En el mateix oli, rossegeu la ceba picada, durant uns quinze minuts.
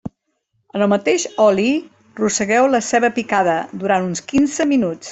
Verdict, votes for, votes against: rejected, 0, 2